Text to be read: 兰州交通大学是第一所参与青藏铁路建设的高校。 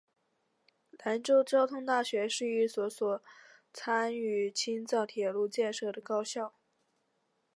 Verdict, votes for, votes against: rejected, 0, 2